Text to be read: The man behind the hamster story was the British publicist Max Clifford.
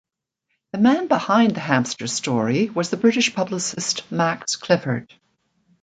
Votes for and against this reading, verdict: 2, 1, accepted